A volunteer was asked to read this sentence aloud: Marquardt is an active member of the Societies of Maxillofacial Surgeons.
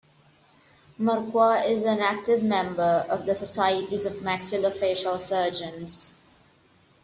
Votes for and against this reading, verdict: 2, 0, accepted